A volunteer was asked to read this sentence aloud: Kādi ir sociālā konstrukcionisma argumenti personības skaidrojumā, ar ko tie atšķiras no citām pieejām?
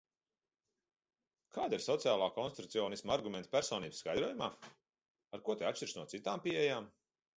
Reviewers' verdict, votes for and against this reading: accepted, 2, 0